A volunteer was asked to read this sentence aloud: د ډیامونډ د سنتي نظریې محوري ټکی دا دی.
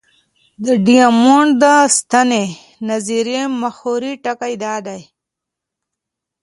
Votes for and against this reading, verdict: 1, 2, rejected